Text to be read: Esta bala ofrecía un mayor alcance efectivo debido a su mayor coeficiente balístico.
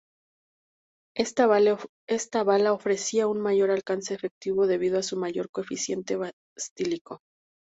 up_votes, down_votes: 2, 4